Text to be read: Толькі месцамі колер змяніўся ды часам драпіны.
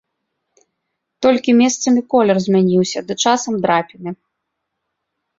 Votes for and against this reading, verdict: 2, 0, accepted